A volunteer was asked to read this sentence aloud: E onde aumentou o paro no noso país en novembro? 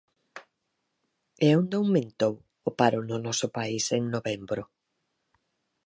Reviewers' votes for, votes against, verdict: 4, 0, accepted